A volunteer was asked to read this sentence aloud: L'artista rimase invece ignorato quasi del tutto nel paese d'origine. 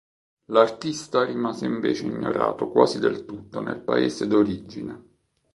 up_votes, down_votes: 2, 0